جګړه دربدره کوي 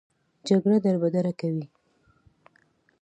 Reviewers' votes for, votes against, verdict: 1, 2, rejected